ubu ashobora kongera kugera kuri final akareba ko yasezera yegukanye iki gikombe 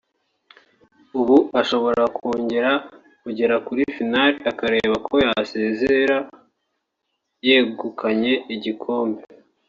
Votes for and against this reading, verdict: 2, 4, rejected